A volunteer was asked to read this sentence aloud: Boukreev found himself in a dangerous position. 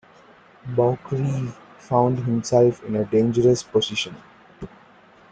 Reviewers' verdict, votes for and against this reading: accepted, 2, 0